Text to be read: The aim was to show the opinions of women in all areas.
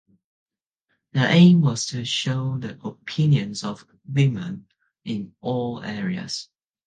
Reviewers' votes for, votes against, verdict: 2, 0, accepted